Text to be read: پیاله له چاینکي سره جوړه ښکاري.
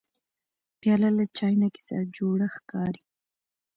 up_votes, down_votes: 3, 0